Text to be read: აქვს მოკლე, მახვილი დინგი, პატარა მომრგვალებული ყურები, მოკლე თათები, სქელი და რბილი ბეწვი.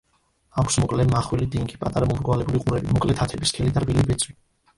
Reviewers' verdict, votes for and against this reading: accepted, 2, 0